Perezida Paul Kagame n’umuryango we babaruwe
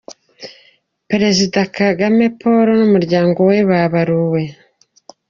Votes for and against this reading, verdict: 0, 2, rejected